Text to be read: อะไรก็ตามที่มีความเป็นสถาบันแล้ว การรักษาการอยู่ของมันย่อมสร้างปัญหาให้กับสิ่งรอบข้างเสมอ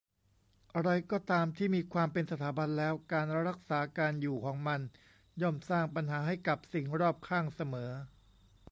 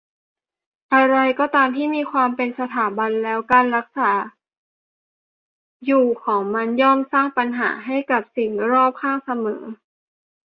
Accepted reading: first